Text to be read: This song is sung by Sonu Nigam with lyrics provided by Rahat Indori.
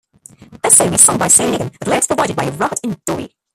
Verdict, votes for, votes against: rejected, 1, 2